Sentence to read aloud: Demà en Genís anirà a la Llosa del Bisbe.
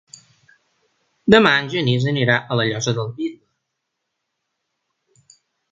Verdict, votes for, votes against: rejected, 1, 2